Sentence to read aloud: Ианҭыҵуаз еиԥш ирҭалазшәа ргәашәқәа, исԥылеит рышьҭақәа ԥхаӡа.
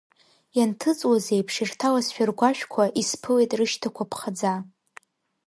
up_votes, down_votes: 1, 2